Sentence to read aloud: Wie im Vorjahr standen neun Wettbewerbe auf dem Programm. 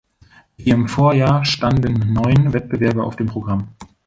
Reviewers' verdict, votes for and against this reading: rejected, 1, 2